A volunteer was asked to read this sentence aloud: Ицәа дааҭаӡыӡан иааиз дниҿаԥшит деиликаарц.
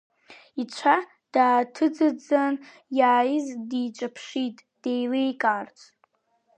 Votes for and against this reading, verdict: 0, 3, rejected